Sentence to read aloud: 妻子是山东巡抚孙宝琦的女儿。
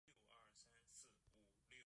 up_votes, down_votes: 0, 2